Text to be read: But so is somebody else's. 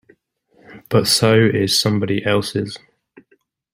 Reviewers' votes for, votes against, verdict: 2, 0, accepted